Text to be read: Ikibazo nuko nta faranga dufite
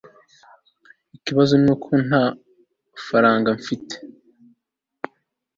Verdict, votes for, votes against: rejected, 1, 2